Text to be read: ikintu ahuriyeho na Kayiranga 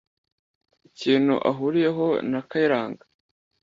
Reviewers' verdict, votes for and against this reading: accepted, 2, 0